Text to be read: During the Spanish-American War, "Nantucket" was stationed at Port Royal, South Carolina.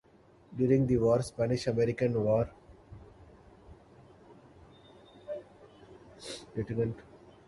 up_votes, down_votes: 0, 2